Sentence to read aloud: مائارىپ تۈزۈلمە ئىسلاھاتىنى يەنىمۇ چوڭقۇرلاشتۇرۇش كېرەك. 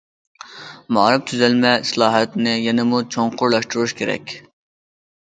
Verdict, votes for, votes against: accepted, 2, 0